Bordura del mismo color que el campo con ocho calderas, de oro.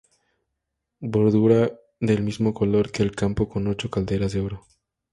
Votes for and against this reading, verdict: 2, 0, accepted